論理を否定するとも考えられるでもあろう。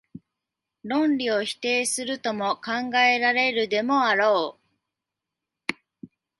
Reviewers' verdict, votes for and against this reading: accepted, 26, 1